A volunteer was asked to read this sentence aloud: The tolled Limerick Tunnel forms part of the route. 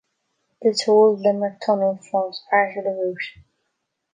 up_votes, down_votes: 2, 0